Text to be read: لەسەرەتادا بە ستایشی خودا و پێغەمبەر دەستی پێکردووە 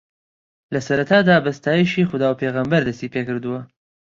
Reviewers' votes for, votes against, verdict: 2, 0, accepted